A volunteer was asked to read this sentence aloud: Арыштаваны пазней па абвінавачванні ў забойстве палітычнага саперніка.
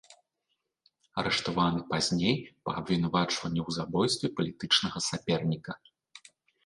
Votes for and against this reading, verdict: 2, 0, accepted